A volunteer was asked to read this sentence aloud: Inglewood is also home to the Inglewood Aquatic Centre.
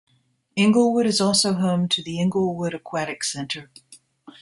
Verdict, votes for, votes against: accepted, 2, 0